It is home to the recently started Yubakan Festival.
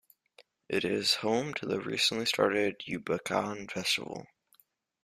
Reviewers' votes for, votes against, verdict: 2, 1, accepted